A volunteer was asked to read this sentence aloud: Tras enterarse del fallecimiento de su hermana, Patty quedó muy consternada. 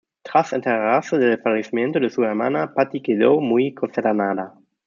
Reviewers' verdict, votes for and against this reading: rejected, 1, 2